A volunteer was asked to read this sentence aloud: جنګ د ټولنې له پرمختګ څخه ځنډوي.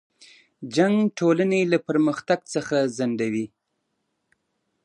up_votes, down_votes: 0, 2